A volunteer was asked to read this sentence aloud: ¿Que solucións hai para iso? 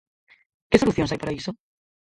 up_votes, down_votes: 0, 4